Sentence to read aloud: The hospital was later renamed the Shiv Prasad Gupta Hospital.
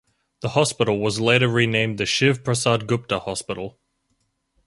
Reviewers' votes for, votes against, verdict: 2, 2, rejected